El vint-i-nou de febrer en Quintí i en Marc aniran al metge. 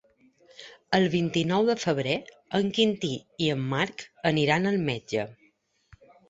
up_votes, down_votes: 3, 0